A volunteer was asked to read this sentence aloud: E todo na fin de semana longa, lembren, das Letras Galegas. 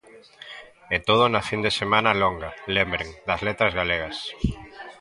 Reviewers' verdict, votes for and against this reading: accepted, 2, 1